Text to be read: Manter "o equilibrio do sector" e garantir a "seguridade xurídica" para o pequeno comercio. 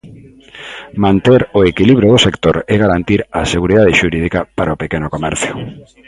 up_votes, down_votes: 2, 0